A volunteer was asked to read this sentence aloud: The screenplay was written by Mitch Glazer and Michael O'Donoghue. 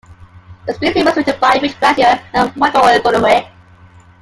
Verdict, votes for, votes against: accepted, 2, 1